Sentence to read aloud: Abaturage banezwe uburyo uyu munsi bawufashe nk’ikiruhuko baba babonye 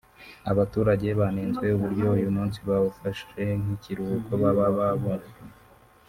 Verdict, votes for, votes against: rejected, 0, 3